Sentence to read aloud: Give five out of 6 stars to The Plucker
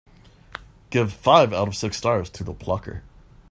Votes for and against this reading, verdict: 0, 2, rejected